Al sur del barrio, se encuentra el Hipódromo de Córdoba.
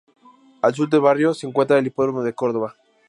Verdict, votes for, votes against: accepted, 2, 0